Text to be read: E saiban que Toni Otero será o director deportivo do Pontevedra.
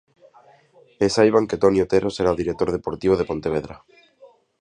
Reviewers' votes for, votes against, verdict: 1, 2, rejected